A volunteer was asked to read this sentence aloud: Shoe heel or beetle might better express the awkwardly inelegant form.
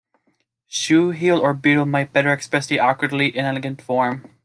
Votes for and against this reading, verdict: 2, 0, accepted